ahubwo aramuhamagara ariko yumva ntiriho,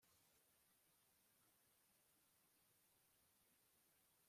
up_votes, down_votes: 2, 3